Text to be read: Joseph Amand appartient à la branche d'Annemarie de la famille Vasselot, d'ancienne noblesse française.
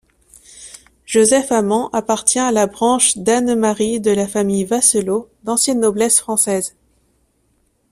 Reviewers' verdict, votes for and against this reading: accepted, 2, 0